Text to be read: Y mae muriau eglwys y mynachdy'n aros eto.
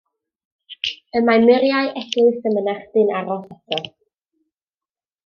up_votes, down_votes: 1, 2